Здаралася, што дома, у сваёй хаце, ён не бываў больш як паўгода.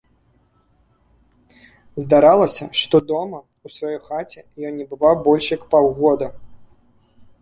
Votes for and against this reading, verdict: 2, 0, accepted